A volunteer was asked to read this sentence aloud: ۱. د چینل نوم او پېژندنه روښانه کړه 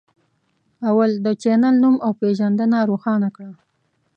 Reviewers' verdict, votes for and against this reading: rejected, 0, 2